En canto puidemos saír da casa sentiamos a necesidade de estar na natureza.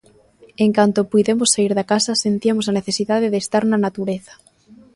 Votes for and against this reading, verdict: 1, 2, rejected